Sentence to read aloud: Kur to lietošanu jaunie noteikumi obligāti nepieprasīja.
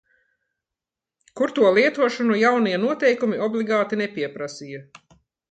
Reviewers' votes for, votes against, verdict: 2, 0, accepted